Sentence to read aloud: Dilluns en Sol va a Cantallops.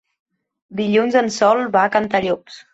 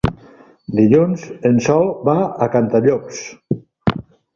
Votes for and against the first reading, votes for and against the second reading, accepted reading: 2, 0, 0, 2, first